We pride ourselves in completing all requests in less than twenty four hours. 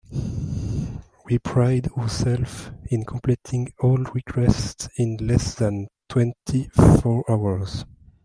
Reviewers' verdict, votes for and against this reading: rejected, 0, 2